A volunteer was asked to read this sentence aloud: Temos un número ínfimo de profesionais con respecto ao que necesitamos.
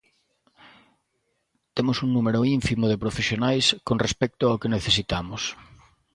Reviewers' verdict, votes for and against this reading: accepted, 2, 0